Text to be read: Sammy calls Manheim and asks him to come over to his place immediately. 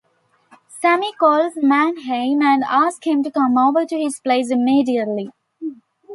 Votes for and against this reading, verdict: 1, 2, rejected